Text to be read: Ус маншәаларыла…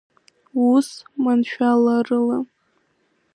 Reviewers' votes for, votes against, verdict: 1, 2, rejected